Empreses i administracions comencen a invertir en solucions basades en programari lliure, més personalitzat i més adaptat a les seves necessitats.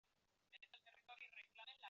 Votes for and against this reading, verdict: 0, 2, rejected